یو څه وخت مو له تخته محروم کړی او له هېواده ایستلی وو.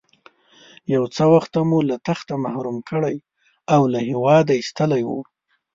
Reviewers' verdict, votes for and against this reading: accepted, 2, 0